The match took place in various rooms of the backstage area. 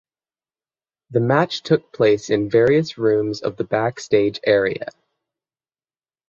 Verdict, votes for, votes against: accepted, 6, 0